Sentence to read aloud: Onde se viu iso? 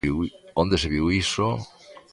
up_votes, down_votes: 0, 2